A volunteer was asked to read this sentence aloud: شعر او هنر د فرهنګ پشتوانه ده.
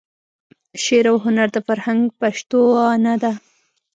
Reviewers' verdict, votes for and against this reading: rejected, 1, 2